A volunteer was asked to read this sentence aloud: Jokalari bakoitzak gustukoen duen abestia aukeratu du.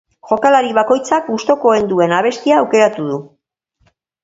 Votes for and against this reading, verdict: 0, 2, rejected